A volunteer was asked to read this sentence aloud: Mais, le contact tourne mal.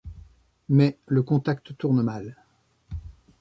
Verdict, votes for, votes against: accepted, 2, 0